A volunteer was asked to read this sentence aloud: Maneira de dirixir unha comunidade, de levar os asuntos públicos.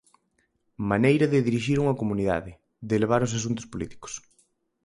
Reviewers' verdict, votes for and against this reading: rejected, 0, 4